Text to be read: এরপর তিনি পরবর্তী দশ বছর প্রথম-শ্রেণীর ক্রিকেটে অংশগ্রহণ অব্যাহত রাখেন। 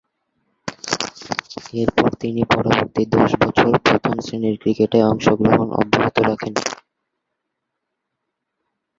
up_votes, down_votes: 0, 2